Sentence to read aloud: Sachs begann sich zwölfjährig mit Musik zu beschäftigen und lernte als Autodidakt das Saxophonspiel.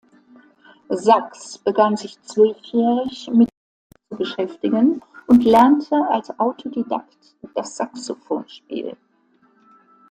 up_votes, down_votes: 0, 2